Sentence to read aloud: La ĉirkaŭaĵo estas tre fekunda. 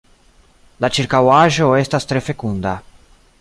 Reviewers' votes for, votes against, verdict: 2, 1, accepted